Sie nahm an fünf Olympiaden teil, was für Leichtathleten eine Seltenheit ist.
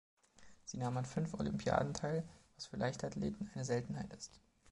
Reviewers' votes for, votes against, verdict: 2, 0, accepted